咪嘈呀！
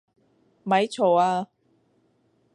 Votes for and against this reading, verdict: 2, 0, accepted